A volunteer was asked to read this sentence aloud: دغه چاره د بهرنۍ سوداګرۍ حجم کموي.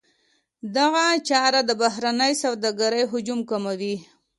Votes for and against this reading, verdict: 2, 0, accepted